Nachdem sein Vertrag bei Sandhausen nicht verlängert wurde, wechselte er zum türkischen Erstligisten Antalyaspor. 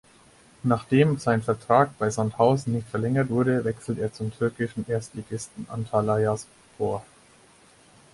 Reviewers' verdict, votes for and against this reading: rejected, 2, 4